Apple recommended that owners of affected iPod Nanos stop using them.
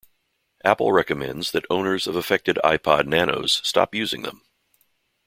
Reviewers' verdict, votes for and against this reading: rejected, 0, 2